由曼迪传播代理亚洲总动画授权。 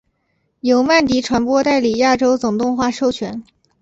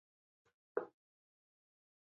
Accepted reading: first